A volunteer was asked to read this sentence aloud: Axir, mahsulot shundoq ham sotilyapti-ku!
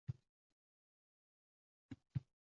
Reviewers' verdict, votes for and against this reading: rejected, 0, 2